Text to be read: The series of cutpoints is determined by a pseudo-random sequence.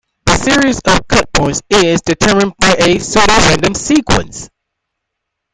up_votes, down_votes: 2, 1